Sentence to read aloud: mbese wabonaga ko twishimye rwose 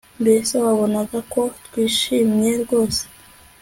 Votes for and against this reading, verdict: 2, 0, accepted